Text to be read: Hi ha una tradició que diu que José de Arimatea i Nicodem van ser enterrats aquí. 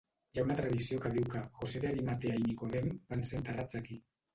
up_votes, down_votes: 2, 0